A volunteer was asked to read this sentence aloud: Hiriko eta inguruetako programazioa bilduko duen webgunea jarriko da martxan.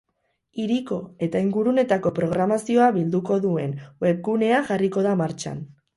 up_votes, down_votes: 2, 2